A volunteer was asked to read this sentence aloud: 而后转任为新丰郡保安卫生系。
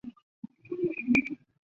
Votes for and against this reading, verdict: 1, 3, rejected